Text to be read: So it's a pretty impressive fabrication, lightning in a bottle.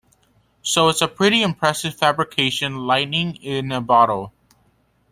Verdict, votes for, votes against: accepted, 2, 1